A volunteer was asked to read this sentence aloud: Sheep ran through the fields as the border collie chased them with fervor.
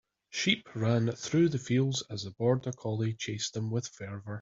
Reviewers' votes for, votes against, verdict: 2, 0, accepted